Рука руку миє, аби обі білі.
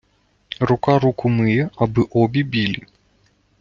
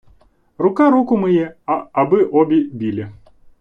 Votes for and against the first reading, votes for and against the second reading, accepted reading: 2, 0, 1, 2, first